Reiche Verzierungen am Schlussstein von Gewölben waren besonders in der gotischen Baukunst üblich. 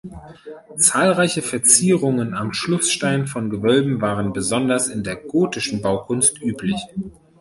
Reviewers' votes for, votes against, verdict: 0, 2, rejected